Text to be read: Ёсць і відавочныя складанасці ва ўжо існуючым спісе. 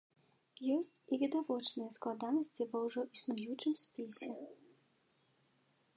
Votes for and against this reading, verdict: 2, 0, accepted